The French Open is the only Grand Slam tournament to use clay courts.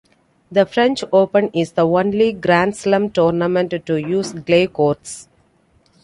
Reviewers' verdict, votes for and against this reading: accepted, 2, 0